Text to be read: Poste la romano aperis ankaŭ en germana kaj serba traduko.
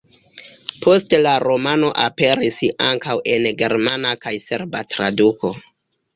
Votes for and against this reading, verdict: 1, 2, rejected